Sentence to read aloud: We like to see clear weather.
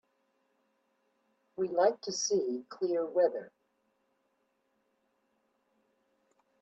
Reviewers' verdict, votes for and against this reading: accepted, 4, 0